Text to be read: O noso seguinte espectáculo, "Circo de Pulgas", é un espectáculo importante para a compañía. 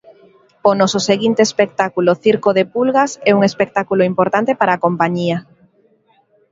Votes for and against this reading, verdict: 1, 2, rejected